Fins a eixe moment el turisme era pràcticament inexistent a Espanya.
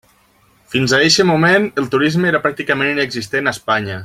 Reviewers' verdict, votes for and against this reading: accepted, 2, 1